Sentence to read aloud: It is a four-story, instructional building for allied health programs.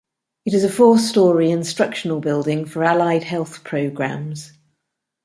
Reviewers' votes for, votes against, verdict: 2, 0, accepted